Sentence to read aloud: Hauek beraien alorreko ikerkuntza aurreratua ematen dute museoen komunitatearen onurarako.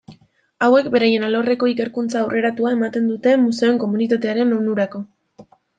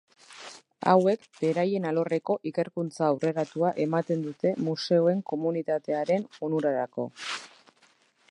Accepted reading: second